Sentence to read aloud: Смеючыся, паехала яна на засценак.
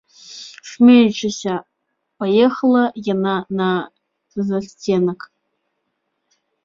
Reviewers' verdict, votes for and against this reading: rejected, 1, 2